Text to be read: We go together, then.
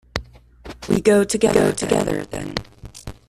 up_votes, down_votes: 0, 2